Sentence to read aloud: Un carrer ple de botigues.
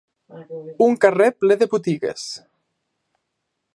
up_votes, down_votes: 3, 0